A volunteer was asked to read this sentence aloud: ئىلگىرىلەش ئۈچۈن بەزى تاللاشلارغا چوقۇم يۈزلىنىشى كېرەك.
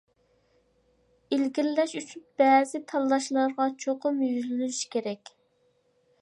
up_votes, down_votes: 2, 0